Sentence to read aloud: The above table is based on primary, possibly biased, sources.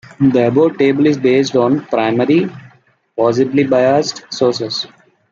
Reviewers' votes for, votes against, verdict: 2, 0, accepted